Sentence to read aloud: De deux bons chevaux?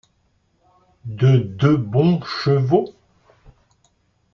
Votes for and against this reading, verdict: 2, 1, accepted